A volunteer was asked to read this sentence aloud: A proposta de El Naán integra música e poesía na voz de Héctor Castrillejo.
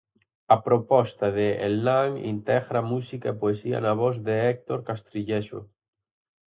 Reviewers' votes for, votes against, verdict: 2, 2, rejected